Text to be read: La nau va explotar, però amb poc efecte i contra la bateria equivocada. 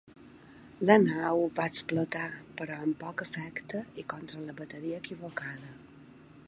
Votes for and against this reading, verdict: 3, 0, accepted